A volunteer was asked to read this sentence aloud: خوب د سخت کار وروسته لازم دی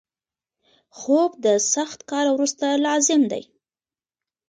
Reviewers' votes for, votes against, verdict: 0, 2, rejected